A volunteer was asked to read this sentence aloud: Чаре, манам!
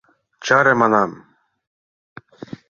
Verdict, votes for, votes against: accepted, 2, 0